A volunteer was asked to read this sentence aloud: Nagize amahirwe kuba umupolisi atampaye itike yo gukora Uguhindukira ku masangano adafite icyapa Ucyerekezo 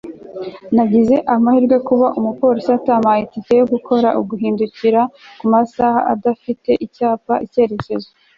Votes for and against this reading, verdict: 1, 2, rejected